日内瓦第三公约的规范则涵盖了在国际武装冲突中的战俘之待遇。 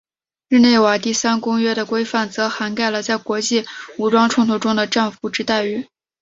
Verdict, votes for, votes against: accepted, 5, 0